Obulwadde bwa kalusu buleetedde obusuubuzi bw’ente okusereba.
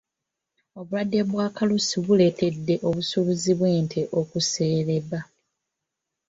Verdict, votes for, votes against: accepted, 2, 0